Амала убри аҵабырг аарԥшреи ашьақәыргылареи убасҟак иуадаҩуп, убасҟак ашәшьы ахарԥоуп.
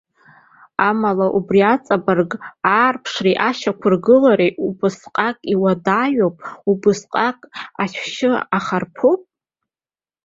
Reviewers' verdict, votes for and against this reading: rejected, 0, 2